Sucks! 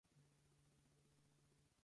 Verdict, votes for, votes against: rejected, 0, 4